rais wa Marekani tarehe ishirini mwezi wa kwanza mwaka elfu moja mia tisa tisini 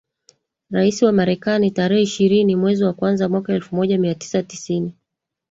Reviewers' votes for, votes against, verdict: 2, 1, accepted